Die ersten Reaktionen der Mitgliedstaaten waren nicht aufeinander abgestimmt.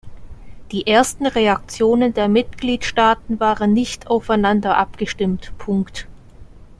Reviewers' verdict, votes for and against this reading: rejected, 0, 2